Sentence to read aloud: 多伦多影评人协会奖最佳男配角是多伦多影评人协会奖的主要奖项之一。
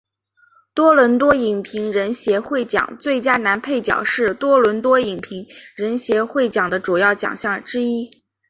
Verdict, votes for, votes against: accepted, 2, 0